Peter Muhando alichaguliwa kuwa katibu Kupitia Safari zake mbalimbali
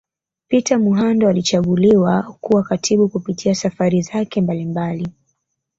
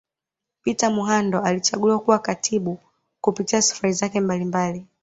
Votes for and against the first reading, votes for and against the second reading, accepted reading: 1, 2, 2, 0, second